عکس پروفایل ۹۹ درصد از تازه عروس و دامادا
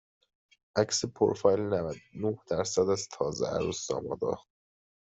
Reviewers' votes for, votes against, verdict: 0, 2, rejected